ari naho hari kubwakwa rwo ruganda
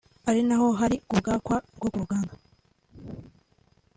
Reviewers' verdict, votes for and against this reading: accepted, 2, 0